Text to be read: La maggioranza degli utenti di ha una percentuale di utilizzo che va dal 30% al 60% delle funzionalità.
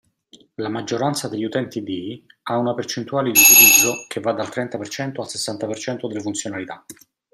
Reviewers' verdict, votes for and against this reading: rejected, 0, 2